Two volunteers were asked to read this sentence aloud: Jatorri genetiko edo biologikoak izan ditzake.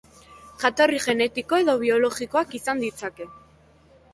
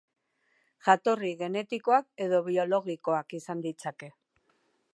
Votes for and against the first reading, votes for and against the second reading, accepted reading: 3, 0, 2, 2, first